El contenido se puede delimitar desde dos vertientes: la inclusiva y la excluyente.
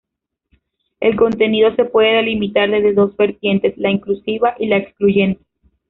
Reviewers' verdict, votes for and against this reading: rejected, 0, 2